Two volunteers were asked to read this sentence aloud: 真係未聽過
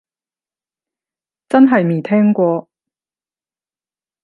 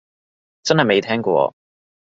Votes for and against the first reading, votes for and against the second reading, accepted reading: 0, 10, 2, 0, second